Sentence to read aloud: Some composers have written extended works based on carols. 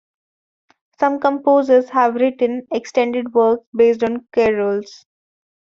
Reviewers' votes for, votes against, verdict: 1, 2, rejected